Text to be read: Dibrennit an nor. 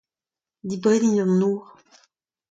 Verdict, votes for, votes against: accepted, 2, 0